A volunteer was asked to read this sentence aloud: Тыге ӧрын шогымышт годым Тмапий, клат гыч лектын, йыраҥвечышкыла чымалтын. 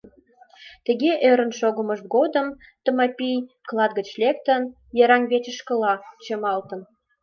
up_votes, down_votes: 0, 2